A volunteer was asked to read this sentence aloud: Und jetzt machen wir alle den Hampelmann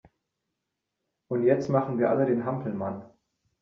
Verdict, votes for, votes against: accepted, 2, 0